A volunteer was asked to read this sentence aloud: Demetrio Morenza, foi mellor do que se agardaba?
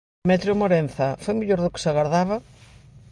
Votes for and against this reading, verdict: 1, 2, rejected